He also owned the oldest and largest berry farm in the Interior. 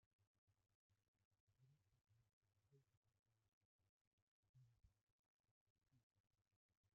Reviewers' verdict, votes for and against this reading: rejected, 0, 2